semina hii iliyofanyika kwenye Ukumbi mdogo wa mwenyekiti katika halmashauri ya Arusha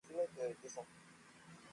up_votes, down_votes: 0, 2